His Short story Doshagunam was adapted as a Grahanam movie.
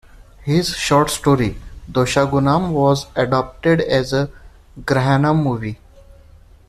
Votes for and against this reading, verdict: 2, 0, accepted